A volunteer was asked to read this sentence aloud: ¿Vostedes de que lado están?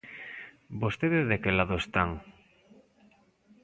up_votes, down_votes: 2, 1